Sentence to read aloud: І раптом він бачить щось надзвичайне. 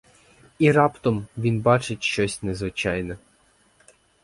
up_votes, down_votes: 2, 4